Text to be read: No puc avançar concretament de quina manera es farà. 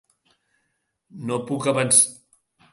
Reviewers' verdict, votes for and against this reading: rejected, 0, 2